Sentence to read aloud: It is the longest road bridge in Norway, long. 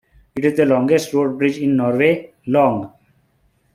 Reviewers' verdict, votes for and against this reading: rejected, 0, 2